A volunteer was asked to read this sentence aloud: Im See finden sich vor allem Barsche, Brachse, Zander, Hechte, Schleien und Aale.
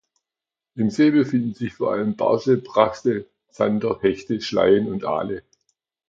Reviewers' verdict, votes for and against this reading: rejected, 0, 2